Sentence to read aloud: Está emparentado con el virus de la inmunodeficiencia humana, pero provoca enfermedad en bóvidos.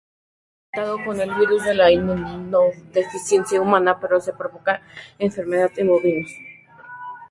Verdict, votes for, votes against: rejected, 0, 4